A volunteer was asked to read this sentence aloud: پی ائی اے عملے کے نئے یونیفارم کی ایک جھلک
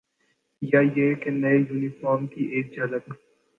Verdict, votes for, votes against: accepted, 3, 1